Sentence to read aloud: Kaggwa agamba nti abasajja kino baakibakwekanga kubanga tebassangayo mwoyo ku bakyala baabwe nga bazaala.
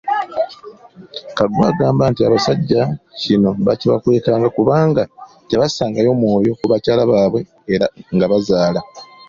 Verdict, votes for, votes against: rejected, 1, 3